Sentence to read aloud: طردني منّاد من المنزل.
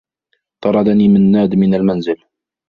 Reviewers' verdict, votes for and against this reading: rejected, 1, 2